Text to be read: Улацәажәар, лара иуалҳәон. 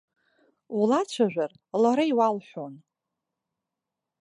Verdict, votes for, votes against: accepted, 2, 0